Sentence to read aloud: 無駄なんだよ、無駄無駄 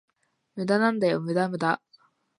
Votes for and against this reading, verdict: 2, 0, accepted